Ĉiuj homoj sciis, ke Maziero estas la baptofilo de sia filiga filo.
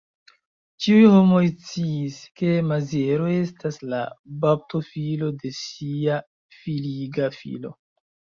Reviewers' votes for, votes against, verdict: 1, 2, rejected